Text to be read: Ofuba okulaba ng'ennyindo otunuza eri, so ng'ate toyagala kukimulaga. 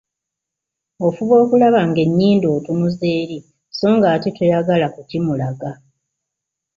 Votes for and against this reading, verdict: 2, 0, accepted